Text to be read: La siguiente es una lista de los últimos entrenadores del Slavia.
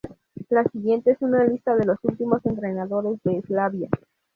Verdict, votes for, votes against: rejected, 0, 2